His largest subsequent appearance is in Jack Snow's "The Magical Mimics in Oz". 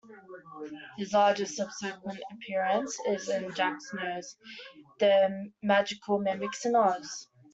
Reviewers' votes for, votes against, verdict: 1, 2, rejected